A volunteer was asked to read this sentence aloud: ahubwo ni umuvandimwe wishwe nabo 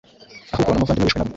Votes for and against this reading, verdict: 0, 3, rejected